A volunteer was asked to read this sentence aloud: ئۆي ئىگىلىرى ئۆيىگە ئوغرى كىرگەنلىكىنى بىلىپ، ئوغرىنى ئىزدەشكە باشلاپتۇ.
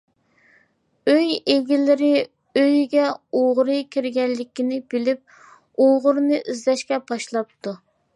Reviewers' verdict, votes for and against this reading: accepted, 2, 0